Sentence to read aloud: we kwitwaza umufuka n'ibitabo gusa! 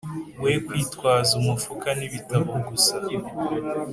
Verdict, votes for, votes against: accepted, 2, 0